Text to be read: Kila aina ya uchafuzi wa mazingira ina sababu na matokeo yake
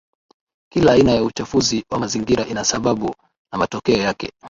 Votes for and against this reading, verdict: 1, 2, rejected